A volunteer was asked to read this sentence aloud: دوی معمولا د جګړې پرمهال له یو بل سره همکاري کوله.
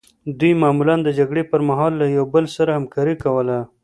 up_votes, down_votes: 2, 0